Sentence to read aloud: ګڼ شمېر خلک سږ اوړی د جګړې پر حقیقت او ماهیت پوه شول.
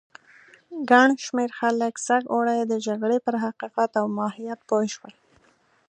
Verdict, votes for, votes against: accepted, 2, 0